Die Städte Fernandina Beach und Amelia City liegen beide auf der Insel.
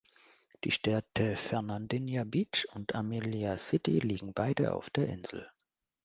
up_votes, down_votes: 1, 2